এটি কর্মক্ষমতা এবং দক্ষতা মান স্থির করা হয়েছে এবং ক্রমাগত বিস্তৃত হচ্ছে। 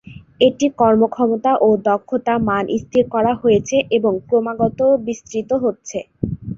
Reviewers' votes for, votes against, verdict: 1, 2, rejected